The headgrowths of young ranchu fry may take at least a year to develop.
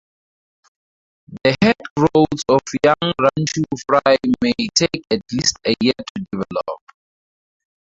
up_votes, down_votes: 0, 4